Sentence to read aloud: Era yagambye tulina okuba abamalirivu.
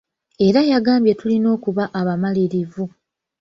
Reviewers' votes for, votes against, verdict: 2, 1, accepted